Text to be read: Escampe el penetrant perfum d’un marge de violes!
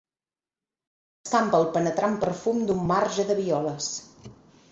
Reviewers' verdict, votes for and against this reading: rejected, 0, 4